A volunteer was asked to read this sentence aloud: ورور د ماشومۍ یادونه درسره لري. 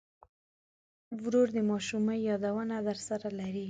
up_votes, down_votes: 3, 0